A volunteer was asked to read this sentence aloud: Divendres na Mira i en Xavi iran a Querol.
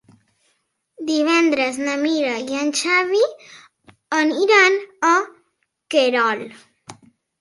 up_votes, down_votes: 1, 2